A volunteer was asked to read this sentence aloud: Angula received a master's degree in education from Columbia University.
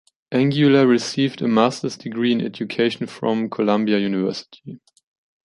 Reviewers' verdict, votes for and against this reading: accepted, 2, 0